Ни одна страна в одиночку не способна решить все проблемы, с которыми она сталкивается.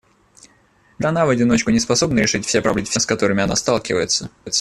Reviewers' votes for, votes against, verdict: 0, 2, rejected